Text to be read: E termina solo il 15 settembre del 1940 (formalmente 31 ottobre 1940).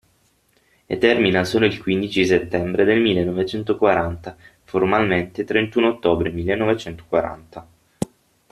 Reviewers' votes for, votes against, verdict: 0, 2, rejected